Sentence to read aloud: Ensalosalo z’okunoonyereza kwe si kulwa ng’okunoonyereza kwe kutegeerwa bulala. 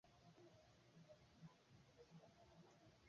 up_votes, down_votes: 0, 2